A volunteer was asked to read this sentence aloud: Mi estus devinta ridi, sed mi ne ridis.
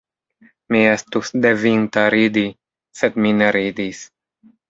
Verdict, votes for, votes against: accepted, 2, 1